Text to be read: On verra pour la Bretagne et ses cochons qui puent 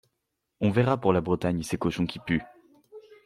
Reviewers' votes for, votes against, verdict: 1, 2, rejected